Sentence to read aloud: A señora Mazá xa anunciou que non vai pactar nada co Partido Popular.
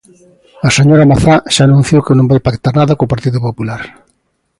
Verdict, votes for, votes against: accepted, 2, 0